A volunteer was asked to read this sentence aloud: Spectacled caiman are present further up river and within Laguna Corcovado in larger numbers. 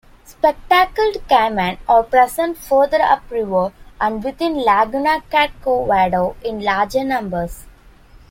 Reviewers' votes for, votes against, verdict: 1, 2, rejected